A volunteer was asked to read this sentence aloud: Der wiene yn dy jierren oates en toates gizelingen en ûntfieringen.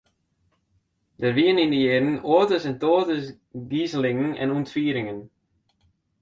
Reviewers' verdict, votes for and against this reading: accepted, 2, 0